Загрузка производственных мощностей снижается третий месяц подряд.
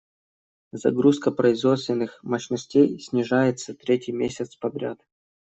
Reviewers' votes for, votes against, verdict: 2, 0, accepted